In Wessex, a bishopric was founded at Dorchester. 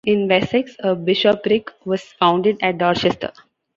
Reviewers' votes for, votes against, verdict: 2, 1, accepted